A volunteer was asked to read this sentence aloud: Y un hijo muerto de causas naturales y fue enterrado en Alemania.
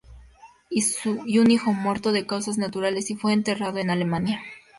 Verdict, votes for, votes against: accepted, 2, 0